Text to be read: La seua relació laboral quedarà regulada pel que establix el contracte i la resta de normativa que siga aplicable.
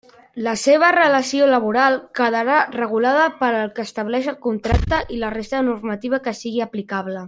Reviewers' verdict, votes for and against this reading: rejected, 1, 2